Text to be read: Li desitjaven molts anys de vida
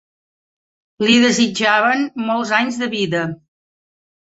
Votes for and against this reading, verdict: 3, 0, accepted